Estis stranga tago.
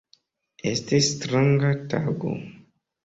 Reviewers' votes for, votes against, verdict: 2, 0, accepted